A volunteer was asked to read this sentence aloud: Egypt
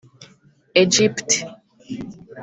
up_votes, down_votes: 1, 2